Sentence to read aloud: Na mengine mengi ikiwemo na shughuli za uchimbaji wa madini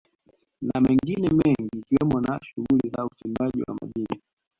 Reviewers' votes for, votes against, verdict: 0, 3, rejected